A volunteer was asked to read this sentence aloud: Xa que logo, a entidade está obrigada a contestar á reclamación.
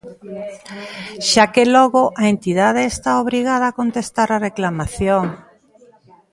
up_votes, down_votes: 2, 0